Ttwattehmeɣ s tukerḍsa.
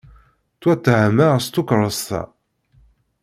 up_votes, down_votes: 1, 2